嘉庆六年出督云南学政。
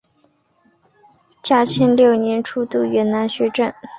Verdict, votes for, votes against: accepted, 4, 0